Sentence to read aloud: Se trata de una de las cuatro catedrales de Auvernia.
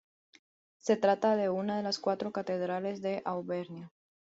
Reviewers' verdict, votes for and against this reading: accepted, 2, 0